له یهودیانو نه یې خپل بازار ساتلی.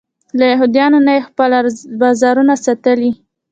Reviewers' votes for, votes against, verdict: 1, 2, rejected